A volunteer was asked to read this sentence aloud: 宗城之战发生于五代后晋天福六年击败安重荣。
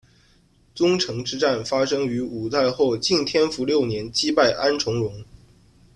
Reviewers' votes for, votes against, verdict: 2, 0, accepted